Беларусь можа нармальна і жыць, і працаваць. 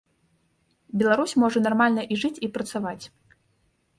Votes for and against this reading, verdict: 2, 0, accepted